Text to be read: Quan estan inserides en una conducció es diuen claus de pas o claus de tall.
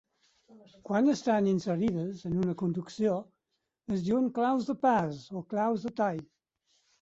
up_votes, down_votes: 4, 0